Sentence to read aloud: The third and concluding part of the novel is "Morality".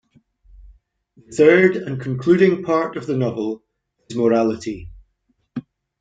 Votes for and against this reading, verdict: 0, 2, rejected